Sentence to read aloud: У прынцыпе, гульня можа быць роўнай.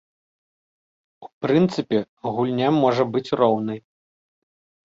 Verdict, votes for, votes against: rejected, 1, 2